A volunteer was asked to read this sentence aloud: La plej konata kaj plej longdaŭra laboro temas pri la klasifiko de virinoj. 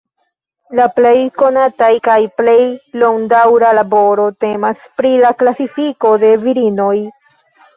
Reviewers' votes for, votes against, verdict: 1, 2, rejected